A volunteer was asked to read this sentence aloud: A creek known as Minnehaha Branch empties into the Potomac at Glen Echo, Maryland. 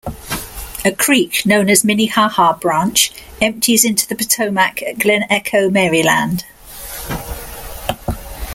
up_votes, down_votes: 2, 0